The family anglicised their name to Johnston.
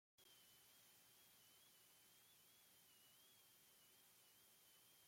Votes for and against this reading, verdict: 0, 2, rejected